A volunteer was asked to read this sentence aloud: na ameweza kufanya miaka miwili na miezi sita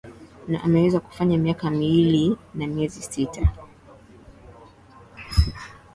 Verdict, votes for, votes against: rejected, 2, 2